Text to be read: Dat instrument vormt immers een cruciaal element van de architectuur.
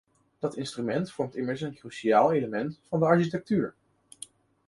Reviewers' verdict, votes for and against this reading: accepted, 2, 0